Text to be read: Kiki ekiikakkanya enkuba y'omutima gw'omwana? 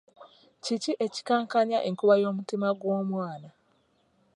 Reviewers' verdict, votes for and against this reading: rejected, 1, 2